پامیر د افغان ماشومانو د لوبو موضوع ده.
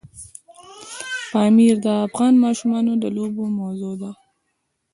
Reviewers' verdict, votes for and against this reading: rejected, 1, 2